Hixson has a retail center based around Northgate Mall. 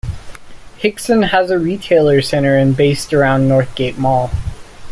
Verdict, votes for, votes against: accepted, 2, 0